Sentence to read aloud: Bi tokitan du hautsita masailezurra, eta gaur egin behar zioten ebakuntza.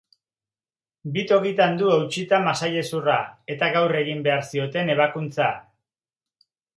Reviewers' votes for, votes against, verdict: 2, 0, accepted